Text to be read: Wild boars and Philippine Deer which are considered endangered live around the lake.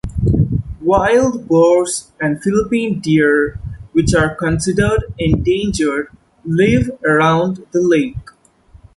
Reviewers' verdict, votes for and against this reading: accepted, 2, 1